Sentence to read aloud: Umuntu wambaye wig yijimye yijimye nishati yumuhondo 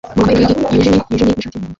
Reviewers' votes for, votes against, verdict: 0, 2, rejected